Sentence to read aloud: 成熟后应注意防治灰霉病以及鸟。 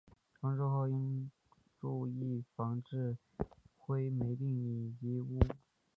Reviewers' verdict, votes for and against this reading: rejected, 0, 2